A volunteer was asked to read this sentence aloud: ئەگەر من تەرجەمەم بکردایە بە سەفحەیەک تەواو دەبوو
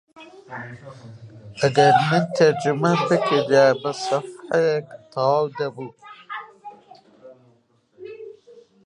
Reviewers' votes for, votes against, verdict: 0, 2, rejected